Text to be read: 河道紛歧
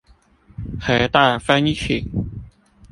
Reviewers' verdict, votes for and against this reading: rejected, 1, 2